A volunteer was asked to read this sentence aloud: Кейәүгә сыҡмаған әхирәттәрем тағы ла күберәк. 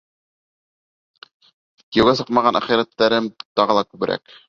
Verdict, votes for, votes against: accepted, 3, 1